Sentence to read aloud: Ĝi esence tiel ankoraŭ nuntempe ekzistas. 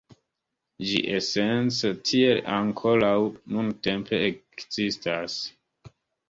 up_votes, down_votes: 2, 0